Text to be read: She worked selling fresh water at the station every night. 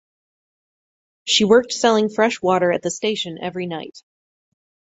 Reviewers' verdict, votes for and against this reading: accepted, 4, 0